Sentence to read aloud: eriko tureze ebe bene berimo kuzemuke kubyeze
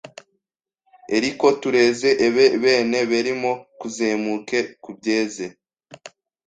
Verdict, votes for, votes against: rejected, 1, 2